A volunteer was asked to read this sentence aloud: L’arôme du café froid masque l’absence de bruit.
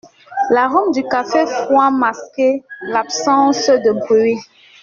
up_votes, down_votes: 0, 2